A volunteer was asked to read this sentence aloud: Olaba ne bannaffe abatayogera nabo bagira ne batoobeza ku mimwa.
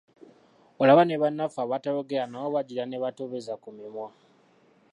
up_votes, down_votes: 2, 1